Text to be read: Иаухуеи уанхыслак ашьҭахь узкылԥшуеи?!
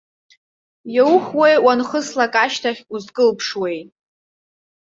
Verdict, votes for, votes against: accepted, 2, 0